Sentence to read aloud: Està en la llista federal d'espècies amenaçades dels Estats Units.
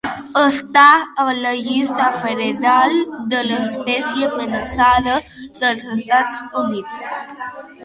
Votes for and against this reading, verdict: 0, 2, rejected